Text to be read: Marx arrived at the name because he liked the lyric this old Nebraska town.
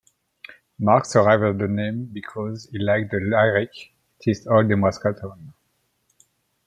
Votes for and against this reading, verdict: 1, 2, rejected